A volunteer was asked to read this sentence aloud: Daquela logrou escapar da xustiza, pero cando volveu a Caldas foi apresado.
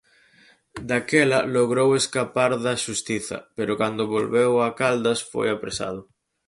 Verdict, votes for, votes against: accepted, 6, 0